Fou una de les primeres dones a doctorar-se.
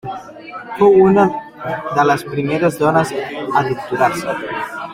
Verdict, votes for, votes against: rejected, 0, 2